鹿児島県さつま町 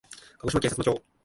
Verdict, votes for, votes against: rejected, 0, 2